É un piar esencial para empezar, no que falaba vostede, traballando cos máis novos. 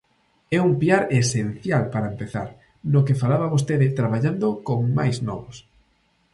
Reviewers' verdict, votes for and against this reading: rejected, 0, 2